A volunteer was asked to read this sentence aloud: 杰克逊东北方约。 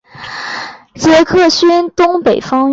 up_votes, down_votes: 2, 0